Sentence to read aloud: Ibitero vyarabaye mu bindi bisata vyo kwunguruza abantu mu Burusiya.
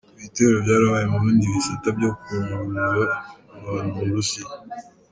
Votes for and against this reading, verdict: 1, 2, rejected